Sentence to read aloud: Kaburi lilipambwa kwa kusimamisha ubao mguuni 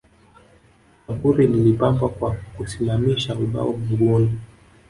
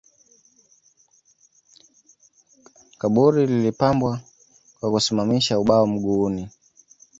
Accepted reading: second